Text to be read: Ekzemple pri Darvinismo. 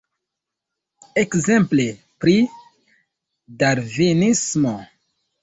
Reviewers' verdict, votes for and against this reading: accepted, 2, 0